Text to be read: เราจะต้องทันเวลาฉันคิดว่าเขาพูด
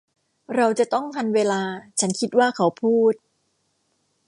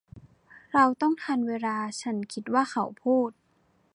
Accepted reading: first